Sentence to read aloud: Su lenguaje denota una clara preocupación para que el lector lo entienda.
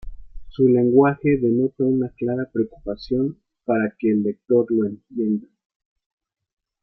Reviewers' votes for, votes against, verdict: 2, 0, accepted